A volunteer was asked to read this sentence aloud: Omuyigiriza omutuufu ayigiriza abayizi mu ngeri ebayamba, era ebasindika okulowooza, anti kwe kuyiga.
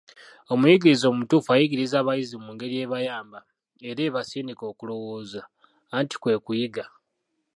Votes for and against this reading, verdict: 0, 2, rejected